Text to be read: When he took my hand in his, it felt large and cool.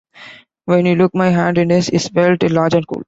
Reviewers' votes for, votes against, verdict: 0, 2, rejected